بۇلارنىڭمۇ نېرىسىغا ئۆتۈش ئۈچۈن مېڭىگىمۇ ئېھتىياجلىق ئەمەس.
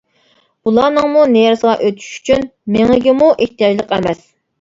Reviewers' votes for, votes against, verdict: 3, 1, accepted